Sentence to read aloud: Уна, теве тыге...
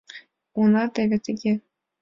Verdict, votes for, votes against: accepted, 2, 0